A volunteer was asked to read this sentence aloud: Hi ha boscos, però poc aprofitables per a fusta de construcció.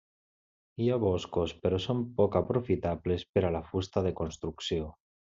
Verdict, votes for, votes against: rejected, 0, 2